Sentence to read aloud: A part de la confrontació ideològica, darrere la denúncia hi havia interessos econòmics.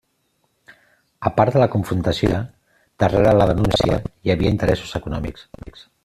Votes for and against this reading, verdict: 0, 2, rejected